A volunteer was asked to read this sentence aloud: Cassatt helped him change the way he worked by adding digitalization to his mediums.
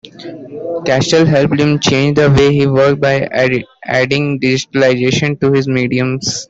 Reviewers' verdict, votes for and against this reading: rejected, 0, 2